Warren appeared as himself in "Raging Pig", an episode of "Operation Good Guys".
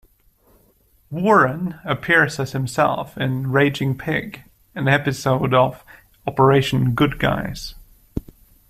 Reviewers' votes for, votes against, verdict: 0, 2, rejected